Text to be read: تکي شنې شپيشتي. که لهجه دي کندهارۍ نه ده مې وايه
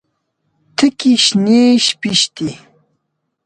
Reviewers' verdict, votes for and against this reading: rejected, 1, 2